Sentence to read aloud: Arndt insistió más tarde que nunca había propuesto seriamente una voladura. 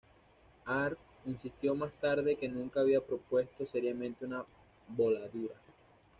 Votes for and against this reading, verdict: 2, 0, accepted